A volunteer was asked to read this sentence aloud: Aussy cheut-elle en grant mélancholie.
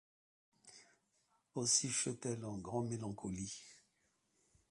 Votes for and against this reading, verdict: 2, 1, accepted